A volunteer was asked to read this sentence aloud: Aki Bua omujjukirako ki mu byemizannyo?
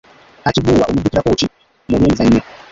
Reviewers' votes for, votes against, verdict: 0, 2, rejected